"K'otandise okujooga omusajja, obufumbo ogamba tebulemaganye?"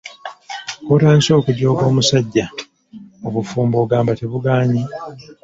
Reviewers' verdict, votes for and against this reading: rejected, 1, 2